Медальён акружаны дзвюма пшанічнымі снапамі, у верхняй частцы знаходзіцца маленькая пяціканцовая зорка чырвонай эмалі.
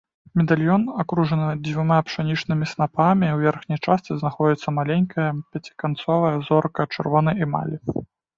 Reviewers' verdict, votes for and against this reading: accepted, 2, 0